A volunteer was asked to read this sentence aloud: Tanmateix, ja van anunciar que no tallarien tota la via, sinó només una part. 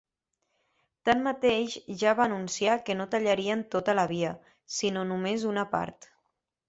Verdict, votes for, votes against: rejected, 1, 2